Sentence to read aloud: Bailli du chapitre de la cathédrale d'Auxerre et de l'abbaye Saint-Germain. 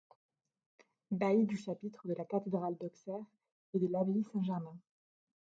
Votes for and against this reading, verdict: 0, 2, rejected